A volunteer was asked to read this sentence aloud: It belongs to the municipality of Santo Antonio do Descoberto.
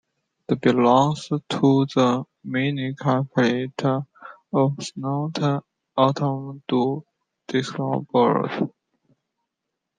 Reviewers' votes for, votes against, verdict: 0, 2, rejected